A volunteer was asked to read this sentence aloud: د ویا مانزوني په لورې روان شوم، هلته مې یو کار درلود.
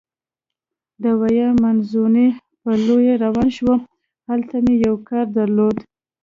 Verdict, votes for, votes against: accepted, 2, 1